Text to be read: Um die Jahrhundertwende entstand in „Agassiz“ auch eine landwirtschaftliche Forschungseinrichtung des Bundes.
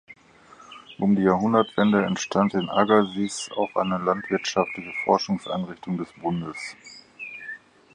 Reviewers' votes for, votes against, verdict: 6, 0, accepted